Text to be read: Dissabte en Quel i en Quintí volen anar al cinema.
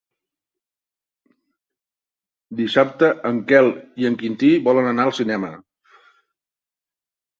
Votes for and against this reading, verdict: 2, 0, accepted